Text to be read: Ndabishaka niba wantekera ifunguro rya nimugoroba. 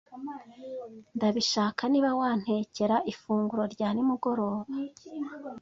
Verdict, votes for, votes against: accepted, 2, 0